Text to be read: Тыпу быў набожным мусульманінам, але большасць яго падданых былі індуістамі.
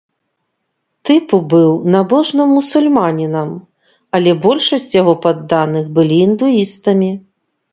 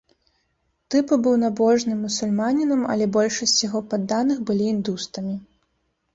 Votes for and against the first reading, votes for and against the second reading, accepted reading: 2, 0, 0, 2, first